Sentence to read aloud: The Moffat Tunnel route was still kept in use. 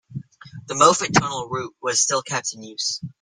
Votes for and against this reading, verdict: 0, 2, rejected